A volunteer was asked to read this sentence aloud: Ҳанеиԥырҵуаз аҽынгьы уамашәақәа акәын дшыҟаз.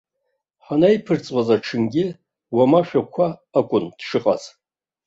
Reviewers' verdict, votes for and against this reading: rejected, 1, 2